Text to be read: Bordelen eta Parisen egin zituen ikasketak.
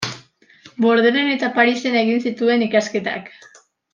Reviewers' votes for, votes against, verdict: 2, 0, accepted